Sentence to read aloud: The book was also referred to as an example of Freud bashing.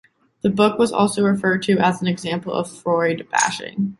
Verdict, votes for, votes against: rejected, 1, 2